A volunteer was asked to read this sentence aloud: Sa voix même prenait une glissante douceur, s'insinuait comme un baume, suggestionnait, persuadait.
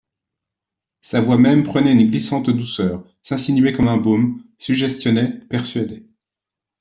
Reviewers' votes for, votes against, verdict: 2, 0, accepted